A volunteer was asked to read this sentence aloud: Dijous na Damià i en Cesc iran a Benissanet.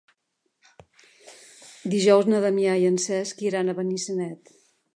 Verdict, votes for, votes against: accepted, 3, 0